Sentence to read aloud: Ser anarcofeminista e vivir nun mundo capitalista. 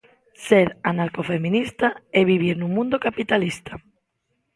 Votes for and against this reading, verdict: 2, 0, accepted